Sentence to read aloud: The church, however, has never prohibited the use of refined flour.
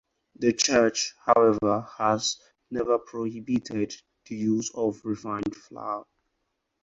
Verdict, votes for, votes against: accepted, 4, 0